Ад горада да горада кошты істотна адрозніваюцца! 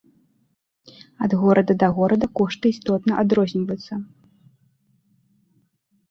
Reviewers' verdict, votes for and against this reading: accepted, 2, 1